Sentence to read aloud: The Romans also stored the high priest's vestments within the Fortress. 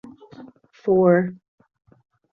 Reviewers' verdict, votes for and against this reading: rejected, 0, 2